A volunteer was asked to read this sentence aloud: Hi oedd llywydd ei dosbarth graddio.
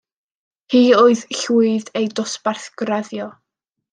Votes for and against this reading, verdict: 1, 2, rejected